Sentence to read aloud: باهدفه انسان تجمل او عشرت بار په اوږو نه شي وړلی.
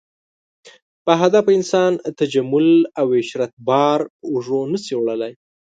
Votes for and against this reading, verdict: 5, 0, accepted